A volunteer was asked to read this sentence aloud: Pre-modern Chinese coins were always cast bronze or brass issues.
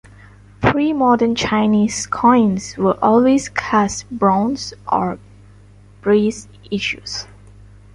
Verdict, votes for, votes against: rejected, 1, 2